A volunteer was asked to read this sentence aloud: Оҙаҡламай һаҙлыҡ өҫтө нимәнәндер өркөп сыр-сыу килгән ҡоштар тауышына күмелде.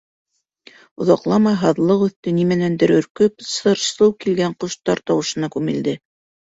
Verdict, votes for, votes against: accepted, 2, 0